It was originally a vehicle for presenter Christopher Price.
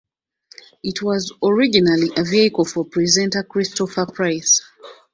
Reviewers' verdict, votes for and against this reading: accepted, 2, 0